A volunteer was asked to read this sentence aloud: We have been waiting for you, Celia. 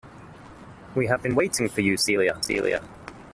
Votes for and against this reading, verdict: 0, 2, rejected